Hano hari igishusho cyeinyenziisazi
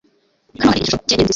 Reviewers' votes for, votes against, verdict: 1, 2, rejected